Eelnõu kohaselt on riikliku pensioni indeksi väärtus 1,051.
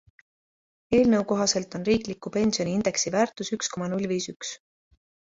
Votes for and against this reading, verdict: 0, 2, rejected